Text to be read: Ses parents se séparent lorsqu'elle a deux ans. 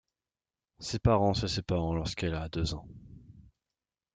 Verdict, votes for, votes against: rejected, 0, 2